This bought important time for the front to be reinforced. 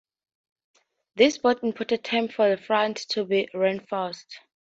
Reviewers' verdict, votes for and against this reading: accepted, 2, 0